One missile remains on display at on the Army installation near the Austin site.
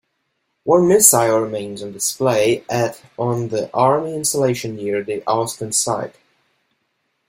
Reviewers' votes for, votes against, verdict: 1, 2, rejected